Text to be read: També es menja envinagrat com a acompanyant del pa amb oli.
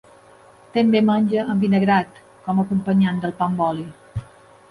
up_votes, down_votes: 1, 2